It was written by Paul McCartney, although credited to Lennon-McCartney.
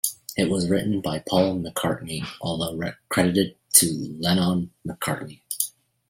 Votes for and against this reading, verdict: 1, 2, rejected